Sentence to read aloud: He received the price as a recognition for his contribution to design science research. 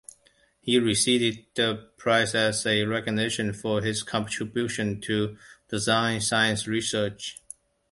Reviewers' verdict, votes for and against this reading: rejected, 1, 2